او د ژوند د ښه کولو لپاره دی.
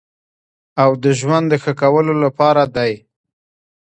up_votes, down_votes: 2, 1